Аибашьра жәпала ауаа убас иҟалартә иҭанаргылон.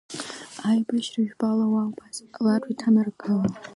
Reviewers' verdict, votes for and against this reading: accepted, 2, 1